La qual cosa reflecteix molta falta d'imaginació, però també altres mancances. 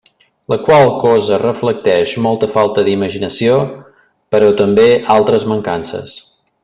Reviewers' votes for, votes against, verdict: 3, 0, accepted